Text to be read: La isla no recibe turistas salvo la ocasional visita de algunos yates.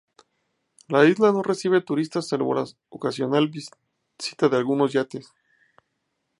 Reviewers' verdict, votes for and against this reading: rejected, 0, 2